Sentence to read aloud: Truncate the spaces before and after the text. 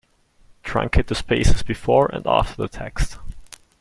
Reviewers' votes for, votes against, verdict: 2, 0, accepted